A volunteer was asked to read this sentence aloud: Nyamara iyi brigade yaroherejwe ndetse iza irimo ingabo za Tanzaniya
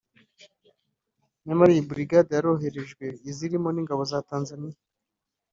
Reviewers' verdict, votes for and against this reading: accepted, 3, 2